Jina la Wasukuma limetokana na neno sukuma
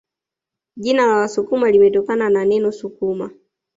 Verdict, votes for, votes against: accepted, 2, 0